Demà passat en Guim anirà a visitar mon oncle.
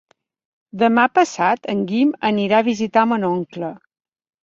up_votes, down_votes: 6, 1